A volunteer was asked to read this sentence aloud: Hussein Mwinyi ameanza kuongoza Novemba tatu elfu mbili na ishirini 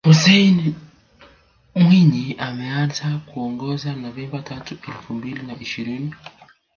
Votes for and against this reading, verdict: 2, 0, accepted